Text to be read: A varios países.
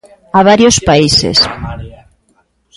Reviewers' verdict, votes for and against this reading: accepted, 3, 0